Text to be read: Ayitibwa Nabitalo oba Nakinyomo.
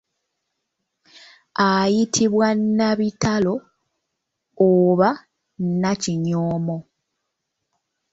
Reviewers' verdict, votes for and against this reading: rejected, 1, 2